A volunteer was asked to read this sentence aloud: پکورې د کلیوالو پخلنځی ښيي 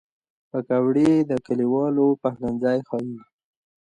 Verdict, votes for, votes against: accepted, 2, 0